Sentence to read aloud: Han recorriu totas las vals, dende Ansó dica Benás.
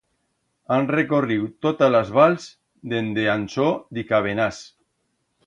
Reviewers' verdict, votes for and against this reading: accepted, 2, 0